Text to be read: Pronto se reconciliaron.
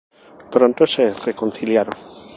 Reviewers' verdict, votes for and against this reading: accepted, 2, 0